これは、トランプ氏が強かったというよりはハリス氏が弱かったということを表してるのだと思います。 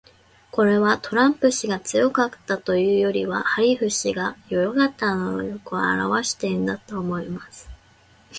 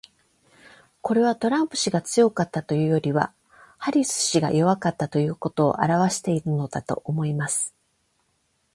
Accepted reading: second